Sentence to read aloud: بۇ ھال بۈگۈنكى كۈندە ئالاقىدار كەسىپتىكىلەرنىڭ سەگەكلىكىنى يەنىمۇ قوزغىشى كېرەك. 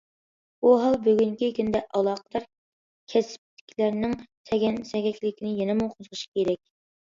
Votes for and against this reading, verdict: 0, 2, rejected